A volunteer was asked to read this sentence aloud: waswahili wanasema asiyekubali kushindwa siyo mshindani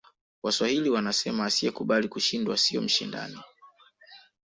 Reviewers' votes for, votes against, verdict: 2, 0, accepted